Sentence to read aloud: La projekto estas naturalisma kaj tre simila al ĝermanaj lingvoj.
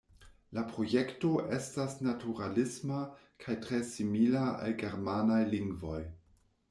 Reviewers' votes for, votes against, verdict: 1, 2, rejected